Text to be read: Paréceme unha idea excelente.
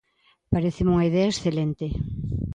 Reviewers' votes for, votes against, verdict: 2, 0, accepted